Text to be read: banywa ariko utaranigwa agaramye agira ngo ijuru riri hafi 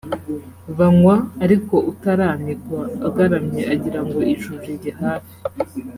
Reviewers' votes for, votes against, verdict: 0, 2, rejected